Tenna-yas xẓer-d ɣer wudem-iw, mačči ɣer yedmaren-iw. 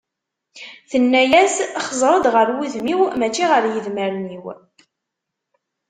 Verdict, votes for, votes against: accepted, 2, 0